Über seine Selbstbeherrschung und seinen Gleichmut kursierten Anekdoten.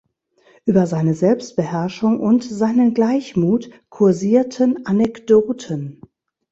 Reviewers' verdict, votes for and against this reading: rejected, 1, 2